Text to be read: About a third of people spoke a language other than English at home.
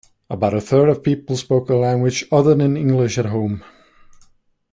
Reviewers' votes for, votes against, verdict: 1, 2, rejected